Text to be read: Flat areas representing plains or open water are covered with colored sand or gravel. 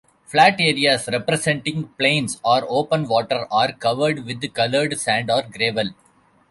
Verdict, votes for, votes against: rejected, 1, 2